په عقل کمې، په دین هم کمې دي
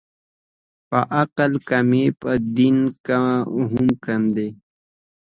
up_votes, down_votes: 2, 0